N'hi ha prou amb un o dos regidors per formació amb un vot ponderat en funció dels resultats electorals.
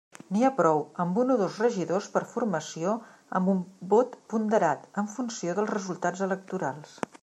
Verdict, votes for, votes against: accepted, 3, 0